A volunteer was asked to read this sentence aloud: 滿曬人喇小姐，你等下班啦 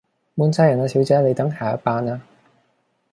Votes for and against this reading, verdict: 0, 2, rejected